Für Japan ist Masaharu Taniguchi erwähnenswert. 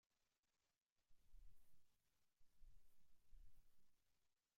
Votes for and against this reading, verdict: 0, 2, rejected